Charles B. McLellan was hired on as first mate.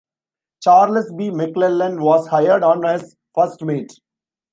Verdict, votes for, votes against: accepted, 2, 0